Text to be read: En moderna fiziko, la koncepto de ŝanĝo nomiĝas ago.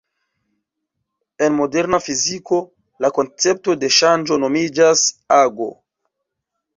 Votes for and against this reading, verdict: 0, 2, rejected